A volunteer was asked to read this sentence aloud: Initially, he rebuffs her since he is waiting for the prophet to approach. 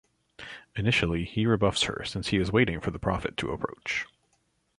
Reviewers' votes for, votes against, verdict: 2, 0, accepted